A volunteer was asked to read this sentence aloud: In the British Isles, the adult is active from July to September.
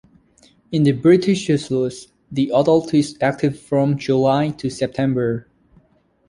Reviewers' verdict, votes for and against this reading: rejected, 0, 2